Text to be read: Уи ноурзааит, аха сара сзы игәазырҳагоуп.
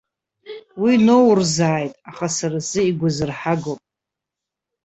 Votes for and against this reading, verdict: 0, 2, rejected